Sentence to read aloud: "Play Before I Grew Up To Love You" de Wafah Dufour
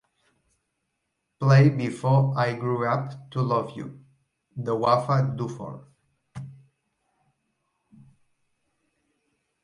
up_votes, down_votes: 1, 2